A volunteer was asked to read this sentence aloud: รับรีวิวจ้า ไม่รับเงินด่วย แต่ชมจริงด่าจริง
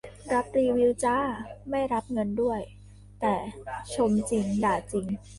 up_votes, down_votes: 0, 2